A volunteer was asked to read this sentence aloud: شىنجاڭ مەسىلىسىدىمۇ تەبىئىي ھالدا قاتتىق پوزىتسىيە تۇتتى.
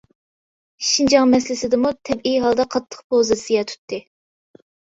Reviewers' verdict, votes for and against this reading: accepted, 2, 0